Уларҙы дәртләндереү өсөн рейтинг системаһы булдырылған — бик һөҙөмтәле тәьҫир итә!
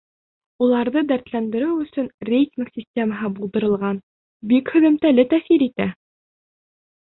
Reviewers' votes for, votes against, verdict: 3, 1, accepted